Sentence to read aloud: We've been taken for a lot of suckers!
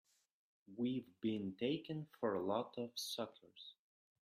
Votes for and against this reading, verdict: 1, 2, rejected